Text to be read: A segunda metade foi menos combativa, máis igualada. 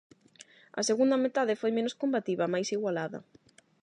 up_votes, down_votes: 8, 0